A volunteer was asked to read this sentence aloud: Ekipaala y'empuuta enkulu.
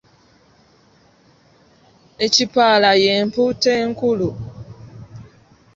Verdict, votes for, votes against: rejected, 1, 2